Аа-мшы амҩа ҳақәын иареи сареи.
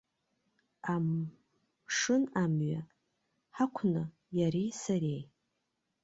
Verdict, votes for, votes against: rejected, 0, 2